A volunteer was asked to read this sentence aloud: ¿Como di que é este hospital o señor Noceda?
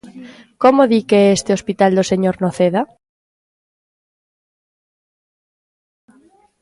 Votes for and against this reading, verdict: 1, 2, rejected